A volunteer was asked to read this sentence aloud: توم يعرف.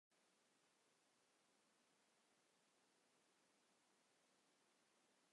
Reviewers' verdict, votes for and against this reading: rejected, 1, 2